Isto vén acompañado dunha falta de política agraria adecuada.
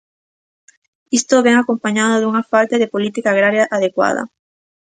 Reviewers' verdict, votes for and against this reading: accepted, 2, 1